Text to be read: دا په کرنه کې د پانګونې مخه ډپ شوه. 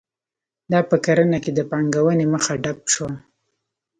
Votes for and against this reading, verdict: 1, 2, rejected